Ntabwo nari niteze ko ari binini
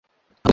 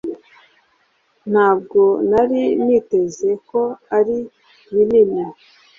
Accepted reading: second